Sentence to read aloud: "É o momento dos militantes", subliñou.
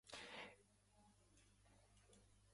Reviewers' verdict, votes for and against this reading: rejected, 0, 2